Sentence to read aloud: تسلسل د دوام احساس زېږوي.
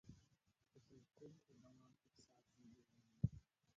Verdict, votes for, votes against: rejected, 0, 2